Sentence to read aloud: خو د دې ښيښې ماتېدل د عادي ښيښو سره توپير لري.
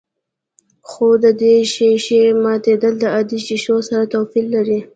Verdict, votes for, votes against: accepted, 2, 0